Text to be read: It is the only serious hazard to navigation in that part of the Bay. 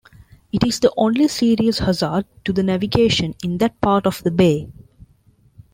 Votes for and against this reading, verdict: 0, 2, rejected